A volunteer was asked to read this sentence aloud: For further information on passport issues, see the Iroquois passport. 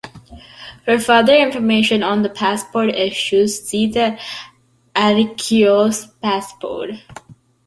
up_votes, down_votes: 0, 2